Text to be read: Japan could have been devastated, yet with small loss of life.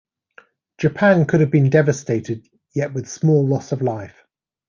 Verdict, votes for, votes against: accepted, 2, 0